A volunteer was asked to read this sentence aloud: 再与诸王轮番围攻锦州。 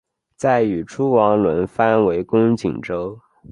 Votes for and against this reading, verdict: 2, 0, accepted